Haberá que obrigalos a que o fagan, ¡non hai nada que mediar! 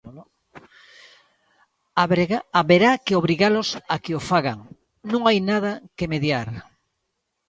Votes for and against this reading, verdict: 0, 2, rejected